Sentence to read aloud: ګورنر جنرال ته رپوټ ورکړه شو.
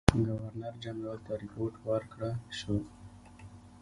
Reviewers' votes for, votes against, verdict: 1, 2, rejected